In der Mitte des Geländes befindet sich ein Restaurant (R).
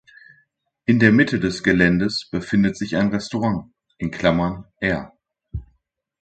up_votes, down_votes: 1, 2